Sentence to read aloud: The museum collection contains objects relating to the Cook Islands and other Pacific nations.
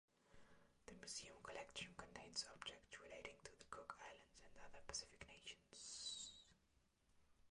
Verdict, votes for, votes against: rejected, 0, 2